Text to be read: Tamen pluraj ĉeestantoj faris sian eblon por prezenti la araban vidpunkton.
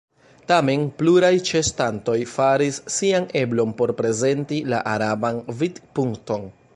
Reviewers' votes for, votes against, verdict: 1, 2, rejected